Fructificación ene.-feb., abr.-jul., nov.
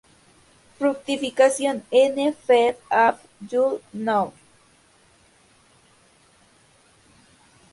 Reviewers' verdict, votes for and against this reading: accepted, 2, 0